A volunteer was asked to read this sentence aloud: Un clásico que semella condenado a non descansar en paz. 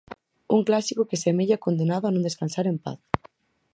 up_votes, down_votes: 4, 0